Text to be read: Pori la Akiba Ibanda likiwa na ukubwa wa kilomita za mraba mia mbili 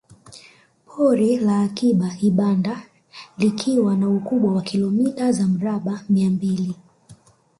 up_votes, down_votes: 1, 2